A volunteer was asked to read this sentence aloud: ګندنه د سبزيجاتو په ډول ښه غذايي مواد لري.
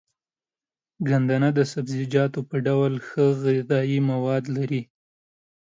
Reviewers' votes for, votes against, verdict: 2, 0, accepted